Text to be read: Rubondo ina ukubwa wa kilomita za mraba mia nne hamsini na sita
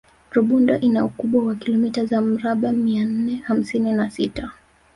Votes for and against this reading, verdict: 4, 0, accepted